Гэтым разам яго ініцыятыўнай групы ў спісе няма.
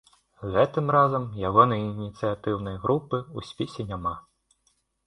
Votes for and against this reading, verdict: 1, 2, rejected